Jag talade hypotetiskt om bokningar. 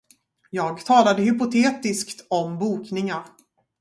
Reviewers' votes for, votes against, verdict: 2, 2, rejected